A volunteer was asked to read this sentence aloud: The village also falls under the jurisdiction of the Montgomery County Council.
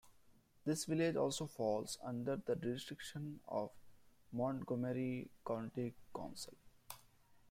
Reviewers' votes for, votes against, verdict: 0, 2, rejected